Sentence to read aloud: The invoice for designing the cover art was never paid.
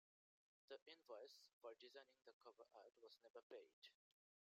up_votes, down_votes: 1, 2